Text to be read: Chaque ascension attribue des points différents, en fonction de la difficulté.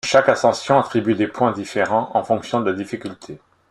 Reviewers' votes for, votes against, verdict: 1, 2, rejected